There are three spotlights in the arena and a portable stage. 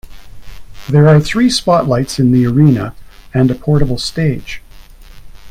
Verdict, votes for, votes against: rejected, 1, 2